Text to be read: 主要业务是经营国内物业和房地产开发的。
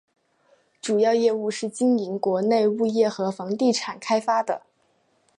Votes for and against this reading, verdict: 2, 0, accepted